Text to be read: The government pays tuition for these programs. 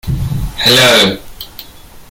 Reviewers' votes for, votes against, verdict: 0, 2, rejected